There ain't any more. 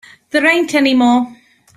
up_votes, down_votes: 2, 0